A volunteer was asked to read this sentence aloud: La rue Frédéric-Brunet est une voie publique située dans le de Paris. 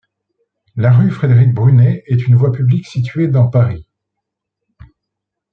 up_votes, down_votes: 1, 2